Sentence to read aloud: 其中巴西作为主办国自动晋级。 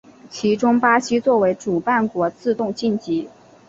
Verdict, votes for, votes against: accepted, 3, 0